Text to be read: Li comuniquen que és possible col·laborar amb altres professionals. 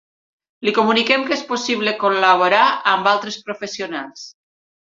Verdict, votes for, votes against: accepted, 3, 0